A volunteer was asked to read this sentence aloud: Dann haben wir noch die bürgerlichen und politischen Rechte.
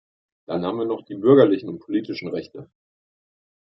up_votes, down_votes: 2, 0